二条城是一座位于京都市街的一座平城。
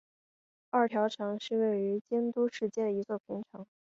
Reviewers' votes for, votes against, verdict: 0, 2, rejected